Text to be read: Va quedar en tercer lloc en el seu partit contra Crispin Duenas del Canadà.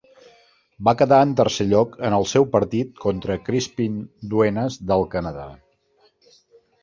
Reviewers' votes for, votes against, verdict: 2, 0, accepted